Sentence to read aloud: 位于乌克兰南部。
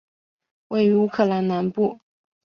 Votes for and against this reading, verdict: 4, 0, accepted